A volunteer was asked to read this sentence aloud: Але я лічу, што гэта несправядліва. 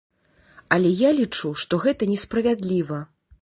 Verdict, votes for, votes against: accepted, 2, 0